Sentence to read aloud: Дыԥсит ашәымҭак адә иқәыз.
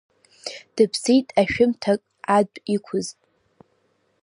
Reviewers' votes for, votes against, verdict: 1, 2, rejected